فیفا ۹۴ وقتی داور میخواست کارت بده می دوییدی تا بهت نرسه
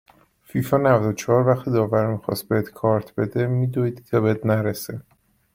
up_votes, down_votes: 0, 2